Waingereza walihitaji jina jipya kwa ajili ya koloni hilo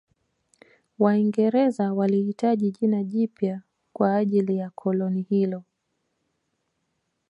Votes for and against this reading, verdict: 0, 2, rejected